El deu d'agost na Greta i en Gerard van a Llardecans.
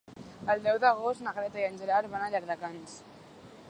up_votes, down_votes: 3, 1